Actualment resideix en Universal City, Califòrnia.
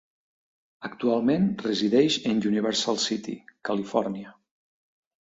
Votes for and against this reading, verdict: 3, 0, accepted